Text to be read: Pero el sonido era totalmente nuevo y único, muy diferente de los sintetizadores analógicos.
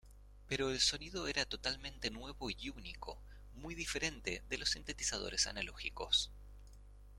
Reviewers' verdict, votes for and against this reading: accepted, 2, 0